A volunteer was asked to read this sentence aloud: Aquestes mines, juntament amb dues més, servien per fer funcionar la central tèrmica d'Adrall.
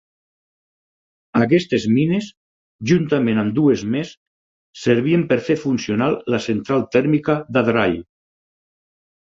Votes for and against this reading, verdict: 4, 0, accepted